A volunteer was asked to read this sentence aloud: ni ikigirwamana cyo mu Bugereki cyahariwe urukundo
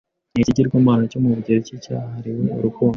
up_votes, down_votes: 2, 1